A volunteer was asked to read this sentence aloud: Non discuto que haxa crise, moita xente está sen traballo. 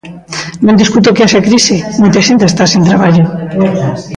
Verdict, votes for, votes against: rejected, 1, 2